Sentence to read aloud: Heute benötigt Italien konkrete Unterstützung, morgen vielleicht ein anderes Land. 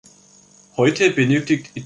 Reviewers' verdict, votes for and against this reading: rejected, 0, 3